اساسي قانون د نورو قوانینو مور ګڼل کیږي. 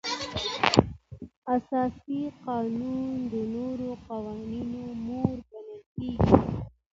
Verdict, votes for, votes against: accepted, 2, 0